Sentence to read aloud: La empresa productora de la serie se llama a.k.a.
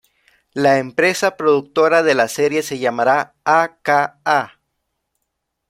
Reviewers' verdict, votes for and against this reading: rejected, 1, 2